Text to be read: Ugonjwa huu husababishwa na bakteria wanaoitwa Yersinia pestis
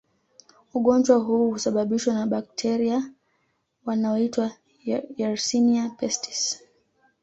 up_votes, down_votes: 2, 1